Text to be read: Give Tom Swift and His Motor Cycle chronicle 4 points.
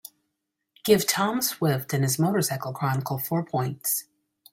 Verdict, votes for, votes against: rejected, 0, 2